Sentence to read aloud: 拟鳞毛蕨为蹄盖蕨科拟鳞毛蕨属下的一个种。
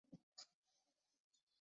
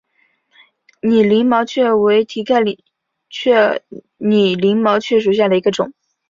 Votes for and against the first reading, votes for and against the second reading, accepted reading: 1, 2, 3, 1, second